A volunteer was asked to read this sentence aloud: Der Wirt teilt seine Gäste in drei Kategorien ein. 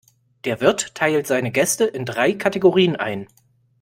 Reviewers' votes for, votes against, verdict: 2, 0, accepted